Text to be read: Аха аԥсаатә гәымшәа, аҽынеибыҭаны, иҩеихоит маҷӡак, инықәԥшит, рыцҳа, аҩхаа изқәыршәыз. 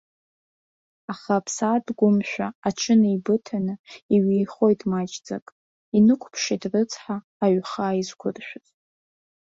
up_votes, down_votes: 2, 0